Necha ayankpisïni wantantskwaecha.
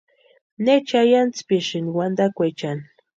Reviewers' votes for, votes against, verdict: 0, 2, rejected